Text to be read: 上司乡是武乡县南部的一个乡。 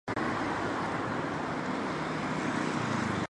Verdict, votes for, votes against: rejected, 1, 3